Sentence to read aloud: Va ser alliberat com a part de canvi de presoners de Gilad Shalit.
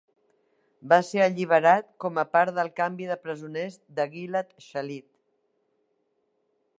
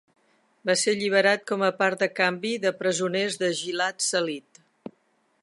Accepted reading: second